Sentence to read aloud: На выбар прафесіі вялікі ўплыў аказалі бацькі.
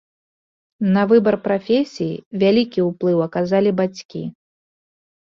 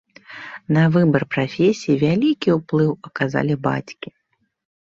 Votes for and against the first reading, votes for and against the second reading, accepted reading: 2, 0, 0, 3, first